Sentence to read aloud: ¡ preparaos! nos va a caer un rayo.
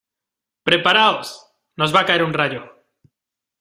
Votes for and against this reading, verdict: 2, 0, accepted